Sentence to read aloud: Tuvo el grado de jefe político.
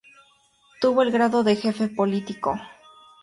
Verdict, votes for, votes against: accepted, 4, 0